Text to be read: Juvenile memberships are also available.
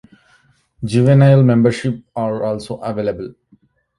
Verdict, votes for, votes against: accepted, 2, 0